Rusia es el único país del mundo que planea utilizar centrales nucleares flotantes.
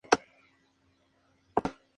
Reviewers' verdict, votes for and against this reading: rejected, 0, 2